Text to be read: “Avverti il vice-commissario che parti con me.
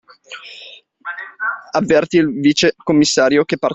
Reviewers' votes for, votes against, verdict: 0, 2, rejected